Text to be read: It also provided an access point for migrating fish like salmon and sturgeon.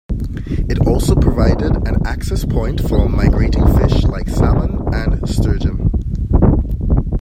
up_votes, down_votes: 2, 0